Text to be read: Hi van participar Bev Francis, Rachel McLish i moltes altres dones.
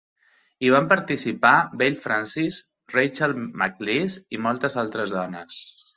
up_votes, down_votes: 2, 0